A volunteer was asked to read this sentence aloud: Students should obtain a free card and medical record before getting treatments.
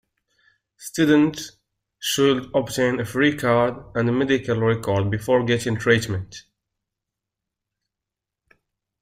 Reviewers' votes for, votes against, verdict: 1, 2, rejected